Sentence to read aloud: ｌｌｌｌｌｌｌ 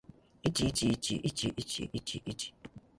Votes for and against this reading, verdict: 4, 0, accepted